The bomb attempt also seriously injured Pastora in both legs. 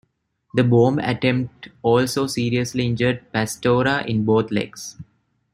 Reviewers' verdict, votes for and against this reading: accepted, 2, 0